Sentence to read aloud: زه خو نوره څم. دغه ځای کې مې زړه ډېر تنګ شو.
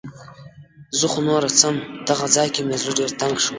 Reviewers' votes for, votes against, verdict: 2, 0, accepted